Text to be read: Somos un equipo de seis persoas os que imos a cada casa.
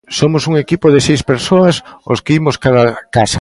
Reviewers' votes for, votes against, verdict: 0, 2, rejected